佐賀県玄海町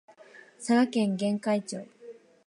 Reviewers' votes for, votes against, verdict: 2, 0, accepted